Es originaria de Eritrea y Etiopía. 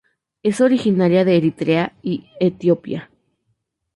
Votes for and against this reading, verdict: 2, 2, rejected